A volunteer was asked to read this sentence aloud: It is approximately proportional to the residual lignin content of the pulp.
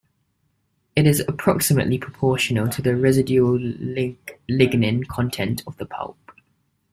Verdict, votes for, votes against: rejected, 1, 2